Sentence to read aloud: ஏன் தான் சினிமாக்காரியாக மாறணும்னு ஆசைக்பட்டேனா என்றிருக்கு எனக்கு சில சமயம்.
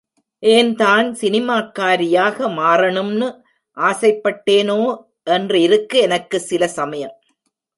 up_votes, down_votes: 1, 2